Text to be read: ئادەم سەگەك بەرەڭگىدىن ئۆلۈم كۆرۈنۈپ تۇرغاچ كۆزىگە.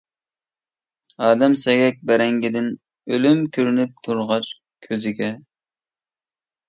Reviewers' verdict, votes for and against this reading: accepted, 5, 0